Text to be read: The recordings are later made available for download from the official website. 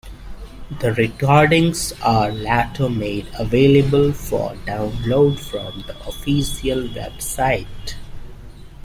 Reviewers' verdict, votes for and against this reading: rejected, 0, 2